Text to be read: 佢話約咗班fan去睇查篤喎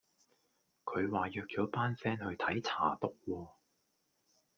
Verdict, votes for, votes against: rejected, 1, 2